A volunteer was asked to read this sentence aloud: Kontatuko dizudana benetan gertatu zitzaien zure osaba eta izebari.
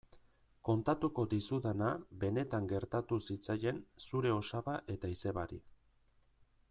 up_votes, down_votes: 2, 0